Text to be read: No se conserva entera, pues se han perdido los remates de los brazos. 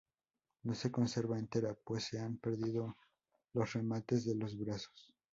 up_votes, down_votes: 2, 0